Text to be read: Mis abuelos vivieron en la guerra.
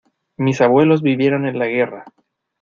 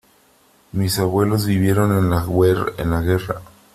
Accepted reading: first